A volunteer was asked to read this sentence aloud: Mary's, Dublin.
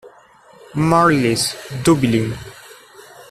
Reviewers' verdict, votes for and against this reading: rejected, 1, 2